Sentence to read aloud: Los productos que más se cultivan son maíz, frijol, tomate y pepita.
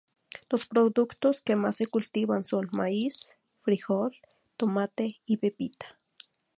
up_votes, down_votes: 2, 0